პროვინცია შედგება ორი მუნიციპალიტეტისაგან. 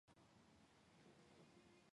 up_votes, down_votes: 0, 2